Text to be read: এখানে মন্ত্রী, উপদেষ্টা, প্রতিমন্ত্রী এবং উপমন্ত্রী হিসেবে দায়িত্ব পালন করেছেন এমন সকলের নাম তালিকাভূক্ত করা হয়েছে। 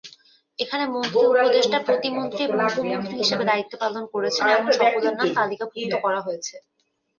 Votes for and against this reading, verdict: 2, 1, accepted